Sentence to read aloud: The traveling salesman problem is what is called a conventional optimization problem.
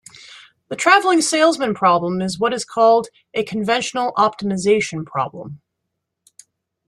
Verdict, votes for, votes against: accepted, 2, 0